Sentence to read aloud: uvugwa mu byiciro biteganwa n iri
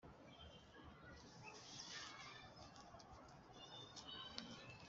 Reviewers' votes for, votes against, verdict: 1, 2, rejected